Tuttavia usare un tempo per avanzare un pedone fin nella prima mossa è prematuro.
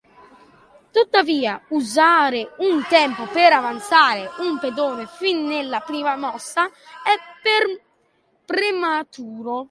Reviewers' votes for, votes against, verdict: 0, 2, rejected